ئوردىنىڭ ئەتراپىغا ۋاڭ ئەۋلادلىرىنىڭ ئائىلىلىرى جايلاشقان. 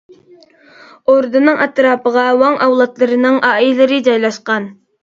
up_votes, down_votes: 2, 0